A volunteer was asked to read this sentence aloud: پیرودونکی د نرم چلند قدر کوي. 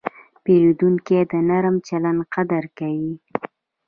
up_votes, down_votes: 1, 2